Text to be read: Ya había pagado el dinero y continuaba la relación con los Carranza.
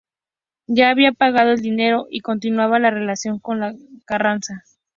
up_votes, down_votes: 0, 2